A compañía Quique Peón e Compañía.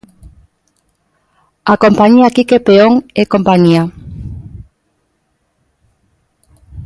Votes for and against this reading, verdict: 2, 0, accepted